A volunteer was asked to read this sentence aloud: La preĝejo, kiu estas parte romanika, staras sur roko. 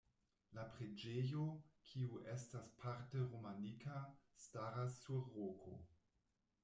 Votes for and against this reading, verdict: 1, 2, rejected